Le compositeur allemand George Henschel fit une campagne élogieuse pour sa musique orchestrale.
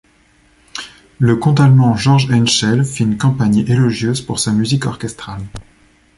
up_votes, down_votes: 0, 2